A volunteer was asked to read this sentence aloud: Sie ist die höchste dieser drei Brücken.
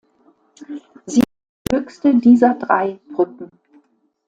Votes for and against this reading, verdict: 1, 2, rejected